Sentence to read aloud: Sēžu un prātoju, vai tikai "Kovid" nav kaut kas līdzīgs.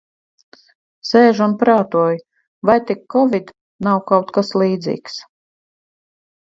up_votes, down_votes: 2, 4